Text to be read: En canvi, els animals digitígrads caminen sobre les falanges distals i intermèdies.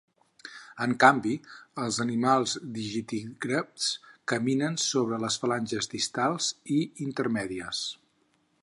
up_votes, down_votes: 0, 4